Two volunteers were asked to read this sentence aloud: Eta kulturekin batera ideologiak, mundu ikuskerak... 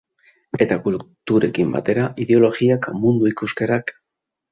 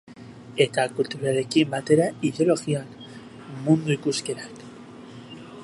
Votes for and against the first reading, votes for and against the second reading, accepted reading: 3, 2, 0, 2, first